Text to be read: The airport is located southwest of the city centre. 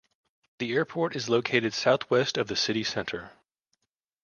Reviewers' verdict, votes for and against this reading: accepted, 2, 0